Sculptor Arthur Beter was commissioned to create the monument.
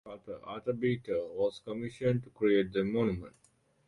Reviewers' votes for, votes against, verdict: 0, 2, rejected